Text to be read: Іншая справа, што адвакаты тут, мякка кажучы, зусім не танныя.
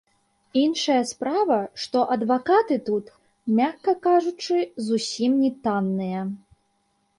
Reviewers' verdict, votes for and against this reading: rejected, 1, 2